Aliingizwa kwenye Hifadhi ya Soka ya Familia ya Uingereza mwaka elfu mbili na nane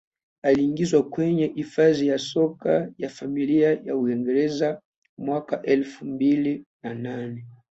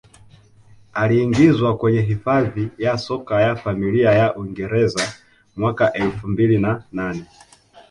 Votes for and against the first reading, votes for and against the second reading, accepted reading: 2, 1, 3, 4, first